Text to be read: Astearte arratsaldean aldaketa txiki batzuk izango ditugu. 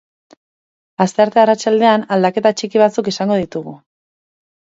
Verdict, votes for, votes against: accepted, 4, 0